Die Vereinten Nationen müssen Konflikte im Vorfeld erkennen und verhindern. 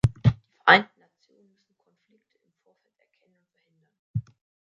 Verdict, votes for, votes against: rejected, 0, 2